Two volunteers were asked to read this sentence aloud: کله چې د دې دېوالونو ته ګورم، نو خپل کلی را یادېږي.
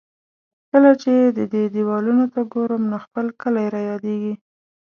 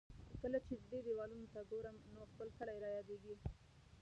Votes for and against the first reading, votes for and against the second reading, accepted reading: 2, 0, 1, 3, first